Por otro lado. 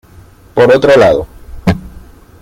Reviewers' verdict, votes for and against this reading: accepted, 2, 1